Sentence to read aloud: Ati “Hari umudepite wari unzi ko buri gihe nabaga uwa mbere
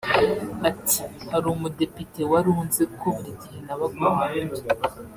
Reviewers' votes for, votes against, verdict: 1, 2, rejected